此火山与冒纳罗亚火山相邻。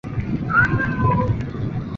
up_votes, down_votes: 0, 2